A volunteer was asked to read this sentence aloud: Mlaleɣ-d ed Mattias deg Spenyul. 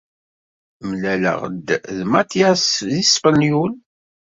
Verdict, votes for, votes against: rejected, 0, 2